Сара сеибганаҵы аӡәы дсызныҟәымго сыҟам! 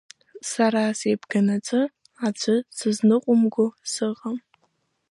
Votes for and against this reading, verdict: 2, 0, accepted